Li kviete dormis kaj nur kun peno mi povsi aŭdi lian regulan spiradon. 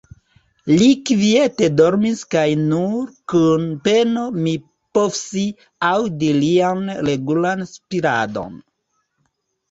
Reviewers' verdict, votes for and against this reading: rejected, 1, 3